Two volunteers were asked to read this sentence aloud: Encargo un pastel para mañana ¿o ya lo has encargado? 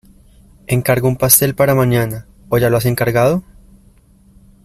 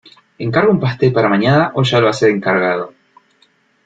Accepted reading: first